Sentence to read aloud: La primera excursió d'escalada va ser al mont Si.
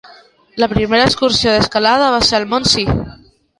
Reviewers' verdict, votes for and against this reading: accepted, 2, 1